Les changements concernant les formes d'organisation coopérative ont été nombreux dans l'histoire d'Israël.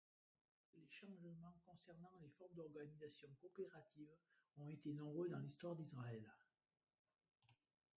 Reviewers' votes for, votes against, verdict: 0, 2, rejected